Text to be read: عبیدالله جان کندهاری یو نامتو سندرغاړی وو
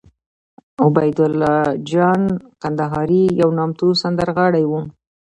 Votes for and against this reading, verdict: 2, 1, accepted